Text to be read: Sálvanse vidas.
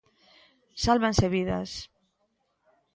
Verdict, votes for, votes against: accepted, 2, 0